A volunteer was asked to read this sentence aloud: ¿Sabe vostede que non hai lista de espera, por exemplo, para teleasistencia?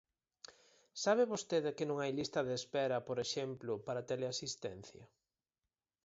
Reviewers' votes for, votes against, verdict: 4, 0, accepted